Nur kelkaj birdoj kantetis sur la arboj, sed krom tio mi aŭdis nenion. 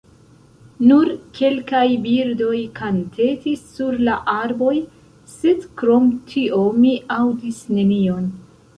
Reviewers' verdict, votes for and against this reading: rejected, 1, 2